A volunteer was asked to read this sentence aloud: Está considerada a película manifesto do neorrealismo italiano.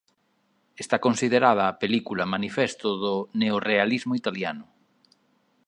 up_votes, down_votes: 2, 0